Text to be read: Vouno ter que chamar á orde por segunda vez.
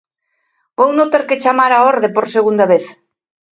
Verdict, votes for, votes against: accepted, 2, 0